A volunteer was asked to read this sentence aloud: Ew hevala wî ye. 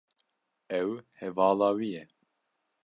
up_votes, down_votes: 2, 0